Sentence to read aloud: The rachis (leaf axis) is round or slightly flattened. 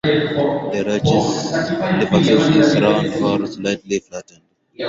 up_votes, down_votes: 4, 0